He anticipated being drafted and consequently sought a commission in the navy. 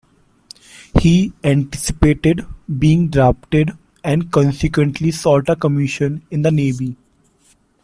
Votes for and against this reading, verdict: 2, 1, accepted